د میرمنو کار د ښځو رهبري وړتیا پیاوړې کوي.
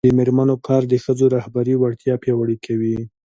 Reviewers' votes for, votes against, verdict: 2, 0, accepted